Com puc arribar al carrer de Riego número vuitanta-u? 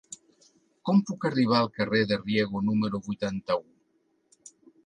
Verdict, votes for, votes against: accepted, 3, 1